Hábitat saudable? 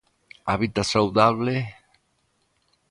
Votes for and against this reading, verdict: 2, 0, accepted